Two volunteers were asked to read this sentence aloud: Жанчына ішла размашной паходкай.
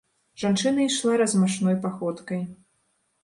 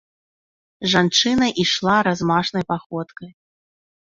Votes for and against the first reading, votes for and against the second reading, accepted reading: 2, 0, 0, 2, first